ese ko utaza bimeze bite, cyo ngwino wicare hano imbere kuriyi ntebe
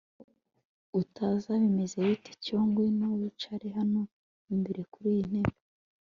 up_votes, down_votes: 1, 2